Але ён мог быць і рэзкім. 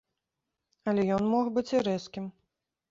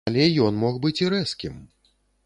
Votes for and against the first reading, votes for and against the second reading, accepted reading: 3, 0, 0, 2, first